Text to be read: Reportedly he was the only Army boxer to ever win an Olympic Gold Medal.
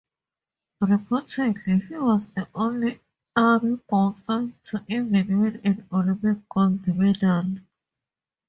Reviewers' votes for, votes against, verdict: 2, 0, accepted